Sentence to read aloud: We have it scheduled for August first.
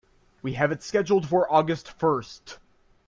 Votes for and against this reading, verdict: 2, 0, accepted